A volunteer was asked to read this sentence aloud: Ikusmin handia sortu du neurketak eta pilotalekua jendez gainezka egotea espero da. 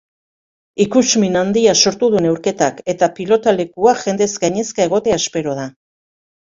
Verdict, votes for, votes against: accepted, 2, 0